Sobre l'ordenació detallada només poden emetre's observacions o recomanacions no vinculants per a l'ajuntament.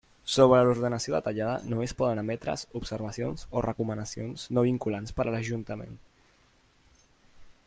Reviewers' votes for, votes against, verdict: 0, 2, rejected